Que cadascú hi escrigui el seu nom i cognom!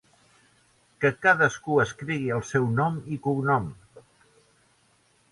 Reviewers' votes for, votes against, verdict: 0, 2, rejected